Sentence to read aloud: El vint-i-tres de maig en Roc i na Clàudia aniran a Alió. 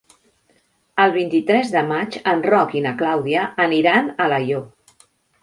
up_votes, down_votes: 0, 2